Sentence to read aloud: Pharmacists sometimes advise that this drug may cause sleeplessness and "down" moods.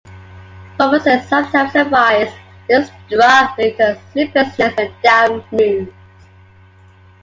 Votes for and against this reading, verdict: 1, 2, rejected